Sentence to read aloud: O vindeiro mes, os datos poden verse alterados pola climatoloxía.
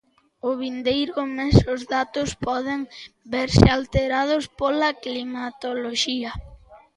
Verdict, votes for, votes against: rejected, 0, 2